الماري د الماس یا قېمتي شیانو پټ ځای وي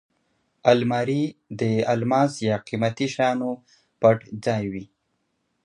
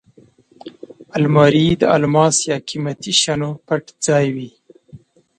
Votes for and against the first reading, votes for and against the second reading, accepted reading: 2, 0, 1, 2, first